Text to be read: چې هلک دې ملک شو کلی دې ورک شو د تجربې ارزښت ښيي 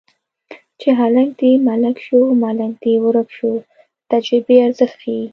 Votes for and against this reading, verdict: 1, 2, rejected